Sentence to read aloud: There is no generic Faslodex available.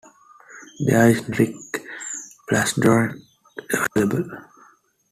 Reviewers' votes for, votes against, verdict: 2, 1, accepted